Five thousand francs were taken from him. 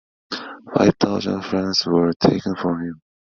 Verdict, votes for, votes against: accepted, 2, 0